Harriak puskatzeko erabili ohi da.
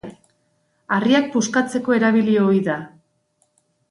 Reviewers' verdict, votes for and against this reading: accepted, 2, 0